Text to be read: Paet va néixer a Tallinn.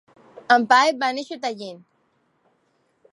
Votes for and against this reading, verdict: 2, 1, accepted